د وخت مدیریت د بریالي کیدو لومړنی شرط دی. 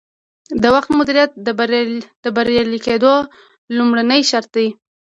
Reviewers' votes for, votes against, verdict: 1, 2, rejected